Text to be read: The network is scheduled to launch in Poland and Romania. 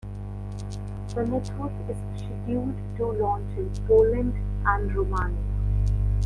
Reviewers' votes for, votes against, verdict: 1, 2, rejected